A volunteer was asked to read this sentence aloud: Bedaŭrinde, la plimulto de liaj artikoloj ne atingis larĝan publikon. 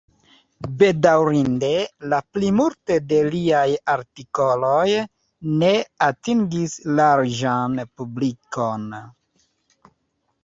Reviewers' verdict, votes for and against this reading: accepted, 2, 1